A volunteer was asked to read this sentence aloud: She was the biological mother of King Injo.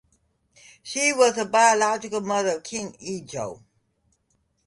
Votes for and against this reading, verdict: 2, 2, rejected